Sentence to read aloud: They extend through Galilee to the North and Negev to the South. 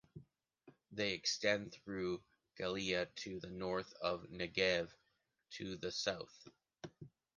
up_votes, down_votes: 0, 2